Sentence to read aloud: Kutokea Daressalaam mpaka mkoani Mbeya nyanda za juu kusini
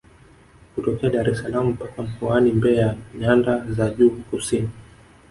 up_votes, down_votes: 2, 0